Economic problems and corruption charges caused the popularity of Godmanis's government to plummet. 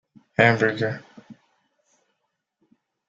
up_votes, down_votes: 0, 2